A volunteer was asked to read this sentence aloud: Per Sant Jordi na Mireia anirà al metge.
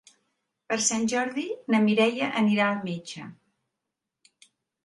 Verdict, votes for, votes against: accepted, 3, 0